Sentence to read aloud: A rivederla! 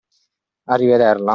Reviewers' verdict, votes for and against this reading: accepted, 2, 0